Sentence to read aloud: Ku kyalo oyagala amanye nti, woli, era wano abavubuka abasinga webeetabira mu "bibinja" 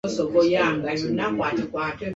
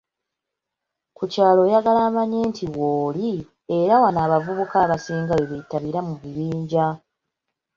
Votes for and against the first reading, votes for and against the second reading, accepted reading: 1, 2, 3, 1, second